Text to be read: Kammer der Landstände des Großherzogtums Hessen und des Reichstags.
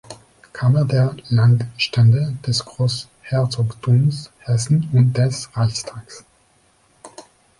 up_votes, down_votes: 2, 0